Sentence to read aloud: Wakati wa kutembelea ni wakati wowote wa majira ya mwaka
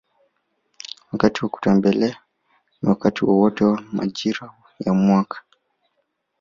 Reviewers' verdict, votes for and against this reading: accepted, 3, 0